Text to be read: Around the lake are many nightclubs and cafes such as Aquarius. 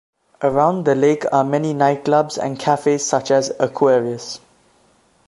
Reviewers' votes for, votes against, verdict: 2, 0, accepted